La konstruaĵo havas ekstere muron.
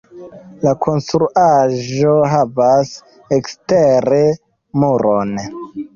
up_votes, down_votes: 1, 2